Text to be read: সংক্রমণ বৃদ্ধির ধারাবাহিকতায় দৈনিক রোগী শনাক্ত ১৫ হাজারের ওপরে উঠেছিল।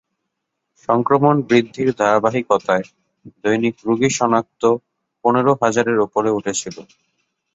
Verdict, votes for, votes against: rejected, 0, 2